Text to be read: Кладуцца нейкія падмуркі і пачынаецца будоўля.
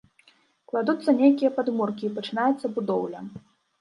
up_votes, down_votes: 2, 0